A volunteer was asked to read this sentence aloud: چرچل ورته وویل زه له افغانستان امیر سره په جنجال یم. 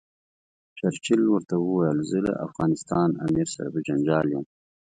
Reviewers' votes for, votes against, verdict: 2, 1, accepted